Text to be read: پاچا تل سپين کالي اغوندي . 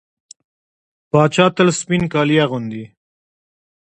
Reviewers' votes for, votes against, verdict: 2, 0, accepted